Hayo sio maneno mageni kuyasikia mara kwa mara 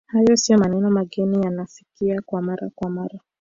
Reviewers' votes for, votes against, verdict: 2, 3, rejected